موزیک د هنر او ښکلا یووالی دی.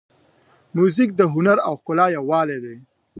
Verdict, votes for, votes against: accepted, 2, 0